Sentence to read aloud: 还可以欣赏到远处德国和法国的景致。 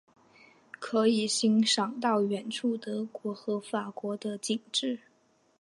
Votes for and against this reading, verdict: 2, 1, accepted